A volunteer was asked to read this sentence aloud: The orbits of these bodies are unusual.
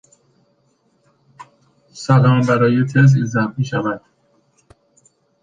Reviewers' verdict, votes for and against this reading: rejected, 1, 2